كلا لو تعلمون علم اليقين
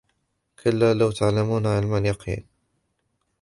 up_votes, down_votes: 3, 0